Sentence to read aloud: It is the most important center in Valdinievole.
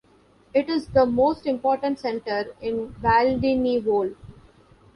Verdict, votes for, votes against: accepted, 2, 0